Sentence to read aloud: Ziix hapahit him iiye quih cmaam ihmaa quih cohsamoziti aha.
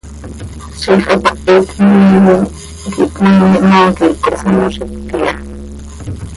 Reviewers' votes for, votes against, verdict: 0, 2, rejected